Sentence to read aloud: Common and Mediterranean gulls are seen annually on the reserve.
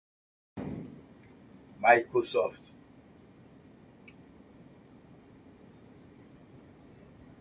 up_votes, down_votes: 0, 2